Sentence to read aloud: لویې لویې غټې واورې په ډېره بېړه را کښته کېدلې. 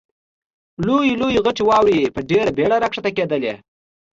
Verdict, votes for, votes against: accepted, 2, 0